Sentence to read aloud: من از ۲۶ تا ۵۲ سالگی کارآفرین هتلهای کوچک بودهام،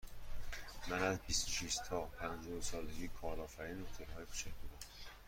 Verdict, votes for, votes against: rejected, 0, 2